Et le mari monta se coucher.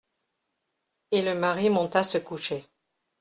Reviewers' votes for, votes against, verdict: 2, 0, accepted